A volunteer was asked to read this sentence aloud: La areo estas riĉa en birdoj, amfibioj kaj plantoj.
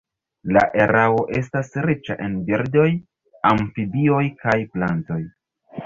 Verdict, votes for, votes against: rejected, 0, 2